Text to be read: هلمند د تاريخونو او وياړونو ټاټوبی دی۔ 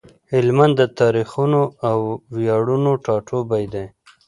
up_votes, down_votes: 2, 0